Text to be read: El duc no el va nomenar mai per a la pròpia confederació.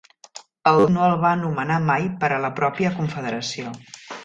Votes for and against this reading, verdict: 0, 2, rejected